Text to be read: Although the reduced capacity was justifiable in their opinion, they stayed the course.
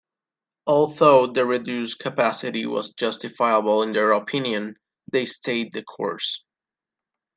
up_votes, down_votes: 2, 0